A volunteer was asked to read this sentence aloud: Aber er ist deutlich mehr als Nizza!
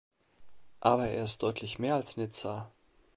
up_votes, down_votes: 2, 0